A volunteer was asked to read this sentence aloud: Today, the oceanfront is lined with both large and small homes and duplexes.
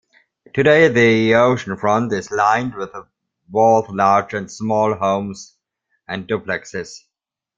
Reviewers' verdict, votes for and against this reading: rejected, 1, 2